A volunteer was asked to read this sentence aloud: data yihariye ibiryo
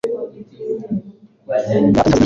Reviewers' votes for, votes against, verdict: 1, 2, rejected